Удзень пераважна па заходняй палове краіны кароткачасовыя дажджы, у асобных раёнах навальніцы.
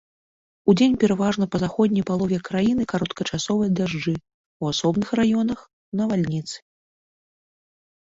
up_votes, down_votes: 2, 0